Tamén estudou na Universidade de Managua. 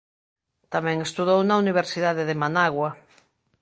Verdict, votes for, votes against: accepted, 2, 0